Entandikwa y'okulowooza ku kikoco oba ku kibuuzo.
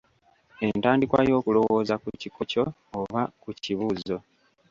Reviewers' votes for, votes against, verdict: 0, 2, rejected